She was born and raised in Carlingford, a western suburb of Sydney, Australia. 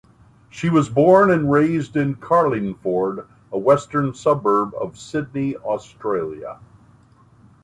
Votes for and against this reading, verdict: 3, 0, accepted